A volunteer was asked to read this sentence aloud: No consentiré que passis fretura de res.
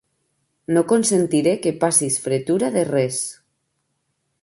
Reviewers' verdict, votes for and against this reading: accepted, 3, 0